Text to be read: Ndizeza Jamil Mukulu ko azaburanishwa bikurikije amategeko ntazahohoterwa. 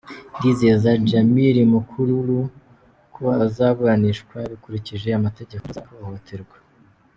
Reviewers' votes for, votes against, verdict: 1, 2, rejected